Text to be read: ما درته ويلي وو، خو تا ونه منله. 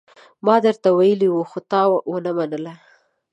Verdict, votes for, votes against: accepted, 2, 0